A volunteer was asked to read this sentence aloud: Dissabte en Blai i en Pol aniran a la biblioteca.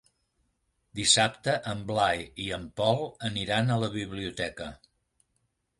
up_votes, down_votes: 2, 0